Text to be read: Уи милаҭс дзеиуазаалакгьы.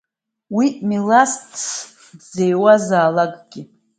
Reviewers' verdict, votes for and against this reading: rejected, 1, 2